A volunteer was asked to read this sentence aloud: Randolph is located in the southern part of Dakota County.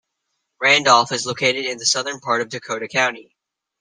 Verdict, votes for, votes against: accepted, 3, 0